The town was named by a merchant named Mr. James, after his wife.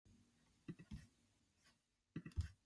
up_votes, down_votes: 0, 2